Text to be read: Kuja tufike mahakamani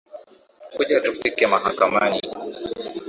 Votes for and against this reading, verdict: 1, 2, rejected